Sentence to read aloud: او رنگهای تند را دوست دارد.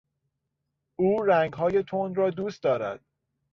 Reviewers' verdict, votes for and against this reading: accepted, 4, 0